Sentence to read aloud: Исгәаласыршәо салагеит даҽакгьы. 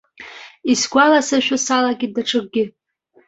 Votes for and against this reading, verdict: 2, 0, accepted